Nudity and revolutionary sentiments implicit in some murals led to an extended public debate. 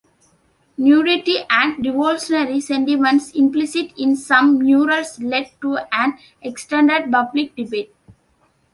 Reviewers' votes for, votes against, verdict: 2, 0, accepted